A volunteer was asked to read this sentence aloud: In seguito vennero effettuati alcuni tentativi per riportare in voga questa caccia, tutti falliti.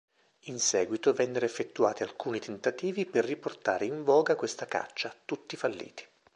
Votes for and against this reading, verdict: 2, 0, accepted